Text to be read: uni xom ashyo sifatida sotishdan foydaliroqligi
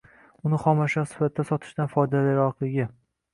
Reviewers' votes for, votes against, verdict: 2, 1, accepted